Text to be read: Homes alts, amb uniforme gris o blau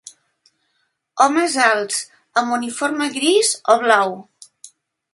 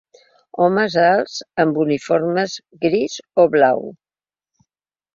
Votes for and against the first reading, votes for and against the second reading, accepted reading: 2, 0, 0, 2, first